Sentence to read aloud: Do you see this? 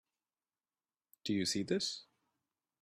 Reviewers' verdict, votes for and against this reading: accepted, 3, 0